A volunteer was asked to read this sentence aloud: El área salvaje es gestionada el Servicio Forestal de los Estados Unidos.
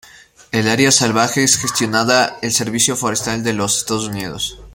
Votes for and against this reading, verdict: 0, 2, rejected